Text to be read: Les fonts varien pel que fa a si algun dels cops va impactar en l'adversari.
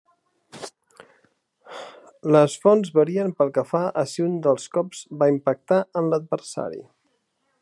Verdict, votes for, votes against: rejected, 1, 3